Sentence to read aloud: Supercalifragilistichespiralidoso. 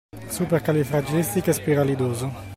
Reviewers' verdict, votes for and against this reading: accepted, 2, 1